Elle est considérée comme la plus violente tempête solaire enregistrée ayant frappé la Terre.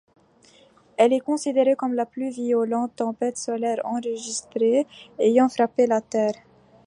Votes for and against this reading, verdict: 2, 0, accepted